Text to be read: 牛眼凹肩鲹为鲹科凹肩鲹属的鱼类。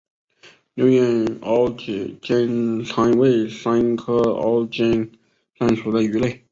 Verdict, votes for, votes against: rejected, 0, 3